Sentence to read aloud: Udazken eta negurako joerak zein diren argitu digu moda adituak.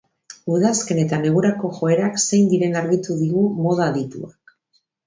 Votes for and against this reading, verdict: 2, 0, accepted